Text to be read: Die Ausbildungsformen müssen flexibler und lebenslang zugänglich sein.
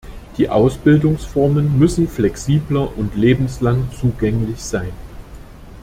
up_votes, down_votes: 2, 0